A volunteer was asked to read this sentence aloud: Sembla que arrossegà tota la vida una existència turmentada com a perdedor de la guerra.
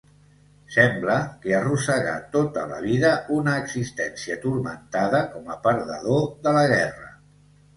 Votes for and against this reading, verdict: 2, 0, accepted